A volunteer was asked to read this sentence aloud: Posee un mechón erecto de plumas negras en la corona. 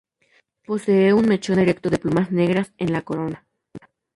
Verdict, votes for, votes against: accepted, 2, 0